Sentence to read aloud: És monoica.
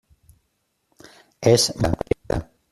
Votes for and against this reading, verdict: 1, 2, rejected